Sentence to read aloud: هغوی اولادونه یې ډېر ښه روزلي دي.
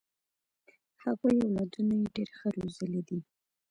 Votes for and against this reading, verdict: 1, 2, rejected